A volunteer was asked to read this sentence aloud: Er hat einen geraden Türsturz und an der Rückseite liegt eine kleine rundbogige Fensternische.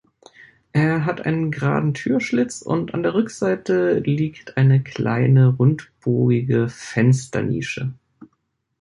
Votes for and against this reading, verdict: 0, 2, rejected